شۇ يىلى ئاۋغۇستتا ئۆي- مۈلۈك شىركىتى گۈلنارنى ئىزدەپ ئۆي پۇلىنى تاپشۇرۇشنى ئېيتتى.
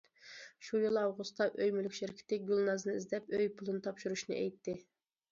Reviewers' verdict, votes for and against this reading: rejected, 0, 2